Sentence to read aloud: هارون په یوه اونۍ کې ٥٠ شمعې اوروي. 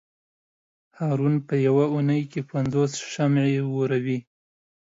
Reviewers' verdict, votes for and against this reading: rejected, 0, 2